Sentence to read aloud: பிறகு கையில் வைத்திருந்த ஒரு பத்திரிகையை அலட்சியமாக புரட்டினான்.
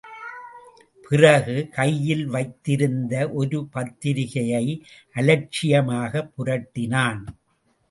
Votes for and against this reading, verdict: 2, 0, accepted